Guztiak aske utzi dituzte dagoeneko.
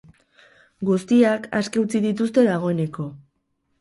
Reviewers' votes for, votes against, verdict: 0, 2, rejected